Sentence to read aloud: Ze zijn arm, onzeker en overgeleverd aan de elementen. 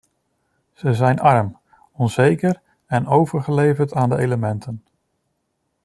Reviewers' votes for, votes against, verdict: 2, 0, accepted